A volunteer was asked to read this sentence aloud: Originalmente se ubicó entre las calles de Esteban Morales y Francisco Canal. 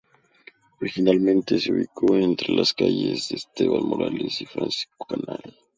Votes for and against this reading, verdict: 2, 0, accepted